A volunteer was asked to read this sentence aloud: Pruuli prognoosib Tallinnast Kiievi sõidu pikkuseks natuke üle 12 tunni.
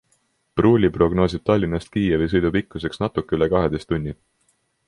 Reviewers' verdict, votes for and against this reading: rejected, 0, 2